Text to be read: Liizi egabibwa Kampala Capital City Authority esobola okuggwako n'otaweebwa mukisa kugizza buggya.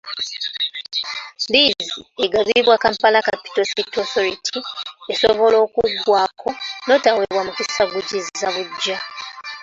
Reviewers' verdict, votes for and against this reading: rejected, 1, 2